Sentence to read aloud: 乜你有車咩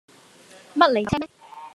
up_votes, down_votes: 0, 2